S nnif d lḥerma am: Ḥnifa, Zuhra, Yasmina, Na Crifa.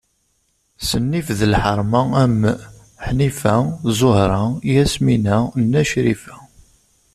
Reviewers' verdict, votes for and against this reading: accepted, 2, 0